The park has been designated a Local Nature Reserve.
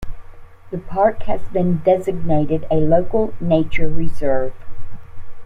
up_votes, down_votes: 2, 1